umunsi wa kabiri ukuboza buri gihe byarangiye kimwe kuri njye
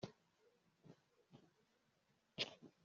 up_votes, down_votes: 0, 2